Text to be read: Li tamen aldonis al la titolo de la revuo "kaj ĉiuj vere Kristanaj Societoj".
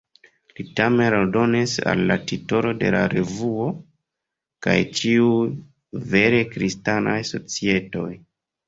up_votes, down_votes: 2, 0